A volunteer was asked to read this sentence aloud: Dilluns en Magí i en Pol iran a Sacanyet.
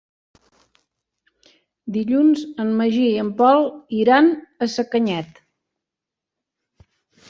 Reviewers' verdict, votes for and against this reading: accepted, 3, 0